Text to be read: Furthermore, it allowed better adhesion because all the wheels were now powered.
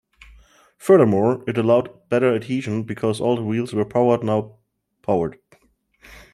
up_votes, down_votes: 0, 2